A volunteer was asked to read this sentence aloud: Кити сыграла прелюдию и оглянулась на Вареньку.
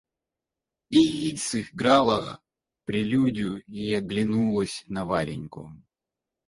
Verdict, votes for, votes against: rejected, 2, 4